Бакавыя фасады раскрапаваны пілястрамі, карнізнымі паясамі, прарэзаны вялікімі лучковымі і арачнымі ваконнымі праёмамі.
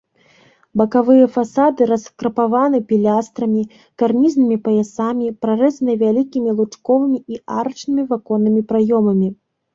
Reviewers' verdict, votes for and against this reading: accepted, 2, 0